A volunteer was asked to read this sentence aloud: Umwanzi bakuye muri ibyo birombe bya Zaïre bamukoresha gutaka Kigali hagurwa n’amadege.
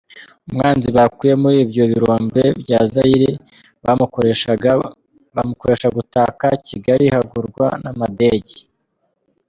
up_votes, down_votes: 0, 2